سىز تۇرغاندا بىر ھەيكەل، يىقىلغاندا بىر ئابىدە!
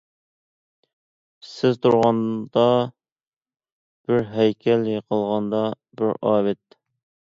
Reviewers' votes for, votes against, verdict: 0, 2, rejected